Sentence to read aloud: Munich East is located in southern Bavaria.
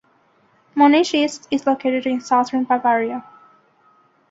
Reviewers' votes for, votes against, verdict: 2, 0, accepted